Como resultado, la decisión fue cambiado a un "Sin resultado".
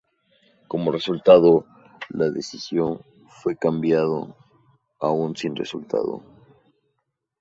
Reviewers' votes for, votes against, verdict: 2, 0, accepted